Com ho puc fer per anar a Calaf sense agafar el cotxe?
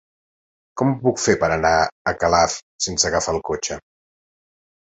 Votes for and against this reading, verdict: 3, 0, accepted